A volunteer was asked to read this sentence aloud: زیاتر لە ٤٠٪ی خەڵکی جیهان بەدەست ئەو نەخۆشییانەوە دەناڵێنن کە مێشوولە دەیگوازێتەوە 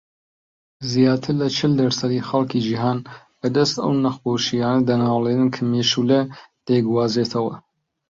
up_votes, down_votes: 0, 2